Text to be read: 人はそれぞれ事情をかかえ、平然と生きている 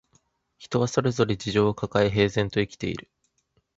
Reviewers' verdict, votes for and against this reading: accepted, 2, 0